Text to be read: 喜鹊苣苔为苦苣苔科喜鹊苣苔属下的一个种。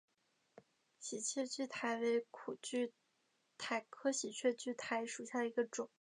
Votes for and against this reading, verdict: 3, 0, accepted